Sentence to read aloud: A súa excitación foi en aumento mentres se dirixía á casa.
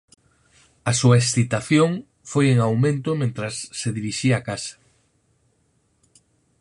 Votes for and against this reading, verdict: 2, 4, rejected